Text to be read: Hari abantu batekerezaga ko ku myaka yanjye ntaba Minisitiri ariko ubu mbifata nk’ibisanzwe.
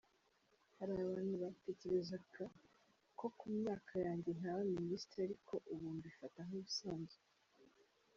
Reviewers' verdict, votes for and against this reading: rejected, 1, 2